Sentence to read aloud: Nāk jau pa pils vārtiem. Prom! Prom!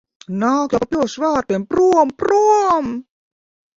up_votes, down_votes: 0, 2